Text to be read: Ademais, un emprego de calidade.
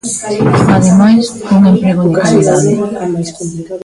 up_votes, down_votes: 0, 2